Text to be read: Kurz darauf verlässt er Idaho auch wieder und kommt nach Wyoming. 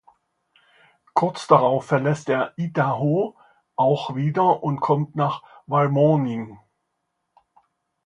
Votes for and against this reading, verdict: 0, 2, rejected